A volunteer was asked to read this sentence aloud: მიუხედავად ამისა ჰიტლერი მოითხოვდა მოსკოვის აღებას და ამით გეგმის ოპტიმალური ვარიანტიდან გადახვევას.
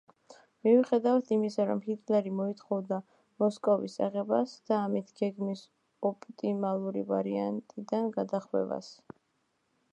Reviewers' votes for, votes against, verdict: 1, 2, rejected